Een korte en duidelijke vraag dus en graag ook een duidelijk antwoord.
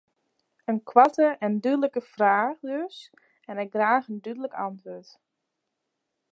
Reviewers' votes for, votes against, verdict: 0, 2, rejected